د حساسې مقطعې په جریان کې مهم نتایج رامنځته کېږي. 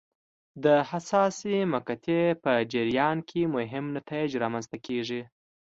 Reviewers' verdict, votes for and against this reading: accepted, 2, 1